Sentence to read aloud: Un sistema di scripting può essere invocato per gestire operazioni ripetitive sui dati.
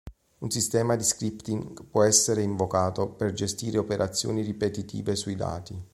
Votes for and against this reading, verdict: 2, 0, accepted